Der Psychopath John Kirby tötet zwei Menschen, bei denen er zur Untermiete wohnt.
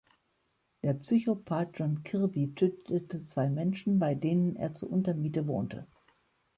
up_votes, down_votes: 0, 2